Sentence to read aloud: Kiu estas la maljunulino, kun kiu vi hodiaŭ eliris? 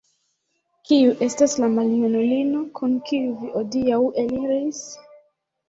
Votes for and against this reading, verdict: 0, 2, rejected